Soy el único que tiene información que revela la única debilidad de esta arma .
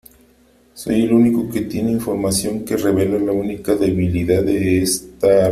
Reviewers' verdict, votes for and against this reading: rejected, 0, 3